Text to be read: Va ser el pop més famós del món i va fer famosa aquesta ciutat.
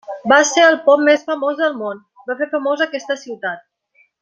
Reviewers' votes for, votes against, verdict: 1, 2, rejected